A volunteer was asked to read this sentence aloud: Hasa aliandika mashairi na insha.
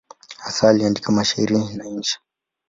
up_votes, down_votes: 2, 0